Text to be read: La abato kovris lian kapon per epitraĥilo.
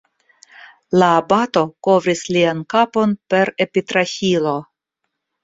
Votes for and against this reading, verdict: 0, 2, rejected